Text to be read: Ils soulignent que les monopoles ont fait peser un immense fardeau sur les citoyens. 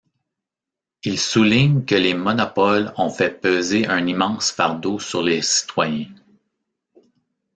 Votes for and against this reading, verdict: 2, 0, accepted